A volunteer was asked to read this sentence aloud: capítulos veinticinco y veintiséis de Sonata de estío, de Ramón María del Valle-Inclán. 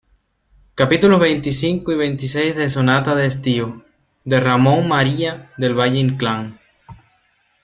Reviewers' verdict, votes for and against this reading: accepted, 2, 0